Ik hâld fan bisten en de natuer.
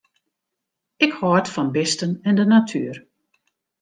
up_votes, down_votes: 2, 0